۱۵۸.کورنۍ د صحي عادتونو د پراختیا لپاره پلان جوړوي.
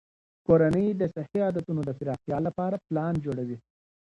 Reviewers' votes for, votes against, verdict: 0, 2, rejected